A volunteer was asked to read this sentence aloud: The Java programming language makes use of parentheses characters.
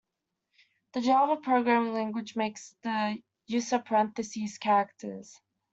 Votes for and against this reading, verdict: 1, 2, rejected